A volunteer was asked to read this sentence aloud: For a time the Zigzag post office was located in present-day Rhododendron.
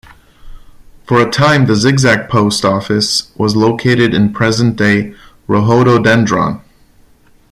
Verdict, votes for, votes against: accepted, 2, 0